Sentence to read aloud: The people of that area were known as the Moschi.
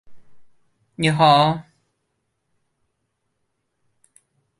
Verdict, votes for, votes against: rejected, 0, 2